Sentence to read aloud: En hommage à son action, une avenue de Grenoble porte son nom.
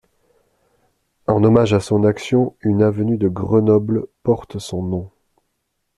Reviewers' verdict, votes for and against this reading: accepted, 2, 0